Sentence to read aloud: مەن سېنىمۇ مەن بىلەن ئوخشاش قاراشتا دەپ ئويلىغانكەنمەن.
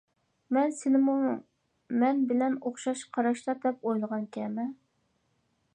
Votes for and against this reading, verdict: 0, 2, rejected